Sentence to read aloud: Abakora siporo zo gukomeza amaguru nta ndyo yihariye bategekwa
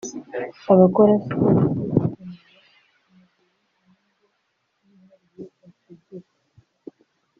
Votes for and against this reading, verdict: 0, 2, rejected